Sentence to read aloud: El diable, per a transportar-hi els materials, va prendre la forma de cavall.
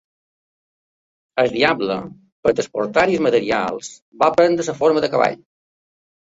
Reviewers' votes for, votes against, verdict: 2, 1, accepted